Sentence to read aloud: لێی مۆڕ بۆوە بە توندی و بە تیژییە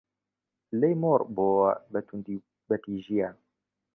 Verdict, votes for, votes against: accepted, 2, 1